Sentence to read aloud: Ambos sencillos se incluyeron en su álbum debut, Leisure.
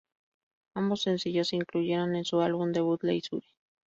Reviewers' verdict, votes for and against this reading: rejected, 0, 2